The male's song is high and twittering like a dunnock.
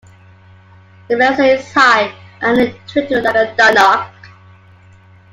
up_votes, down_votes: 1, 2